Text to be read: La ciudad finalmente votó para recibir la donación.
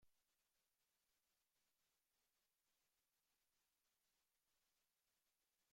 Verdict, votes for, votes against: rejected, 0, 2